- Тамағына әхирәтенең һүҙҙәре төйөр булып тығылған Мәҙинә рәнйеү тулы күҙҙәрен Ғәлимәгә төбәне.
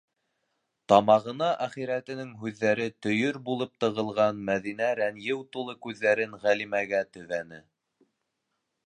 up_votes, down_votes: 2, 0